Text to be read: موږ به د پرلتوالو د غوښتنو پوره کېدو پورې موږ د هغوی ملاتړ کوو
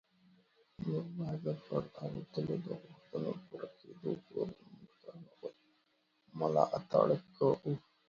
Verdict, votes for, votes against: rejected, 0, 2